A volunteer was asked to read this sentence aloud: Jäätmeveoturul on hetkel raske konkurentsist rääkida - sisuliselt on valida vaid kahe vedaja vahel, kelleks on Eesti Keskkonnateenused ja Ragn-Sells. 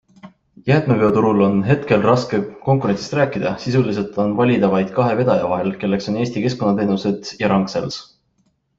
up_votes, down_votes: 2, 0